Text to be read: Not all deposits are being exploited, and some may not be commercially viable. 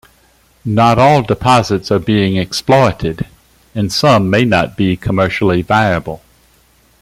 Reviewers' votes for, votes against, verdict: 2, 0, accepted